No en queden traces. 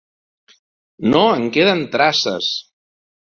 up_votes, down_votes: 2, 0